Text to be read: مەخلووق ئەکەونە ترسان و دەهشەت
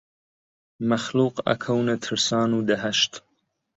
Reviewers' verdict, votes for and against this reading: rejected, 1, 2